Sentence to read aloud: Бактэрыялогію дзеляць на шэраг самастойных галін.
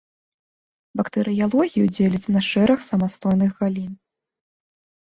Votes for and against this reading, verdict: 2, 0, accepted